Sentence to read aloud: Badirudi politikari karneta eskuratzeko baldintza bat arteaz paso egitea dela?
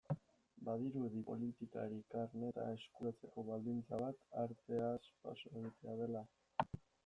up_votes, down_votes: 2, 1